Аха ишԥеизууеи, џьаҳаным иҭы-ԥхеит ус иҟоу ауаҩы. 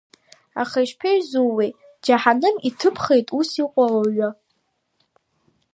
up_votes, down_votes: 2, 0